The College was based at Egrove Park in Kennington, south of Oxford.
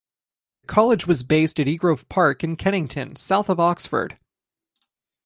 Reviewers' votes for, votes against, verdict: 2, 1, accepted